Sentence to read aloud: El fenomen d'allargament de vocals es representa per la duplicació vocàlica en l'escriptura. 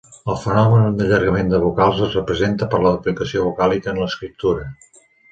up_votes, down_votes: 5, 0